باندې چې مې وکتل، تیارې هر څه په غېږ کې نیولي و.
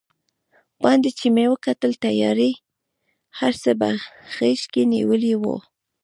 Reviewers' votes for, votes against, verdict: 0, 2, rejected